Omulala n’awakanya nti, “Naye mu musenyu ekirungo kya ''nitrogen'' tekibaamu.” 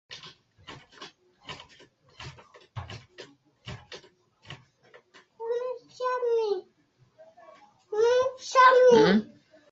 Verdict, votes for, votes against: rejected, 0, 3